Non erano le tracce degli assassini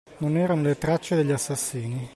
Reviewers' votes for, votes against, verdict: 2, 0, accepted